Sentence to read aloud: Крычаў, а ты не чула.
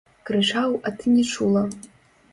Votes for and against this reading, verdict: 0, 2, rejected